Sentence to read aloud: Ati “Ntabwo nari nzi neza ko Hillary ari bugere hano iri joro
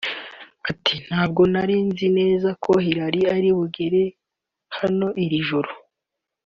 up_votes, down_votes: 5, 0